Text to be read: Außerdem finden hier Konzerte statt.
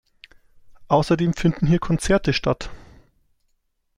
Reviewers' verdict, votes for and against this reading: accepted, 2, 0